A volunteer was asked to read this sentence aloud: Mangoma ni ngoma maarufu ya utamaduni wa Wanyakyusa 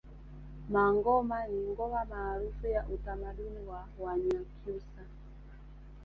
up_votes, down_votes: 1, 2